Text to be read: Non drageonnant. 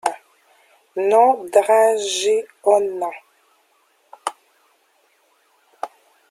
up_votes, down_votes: 0, 2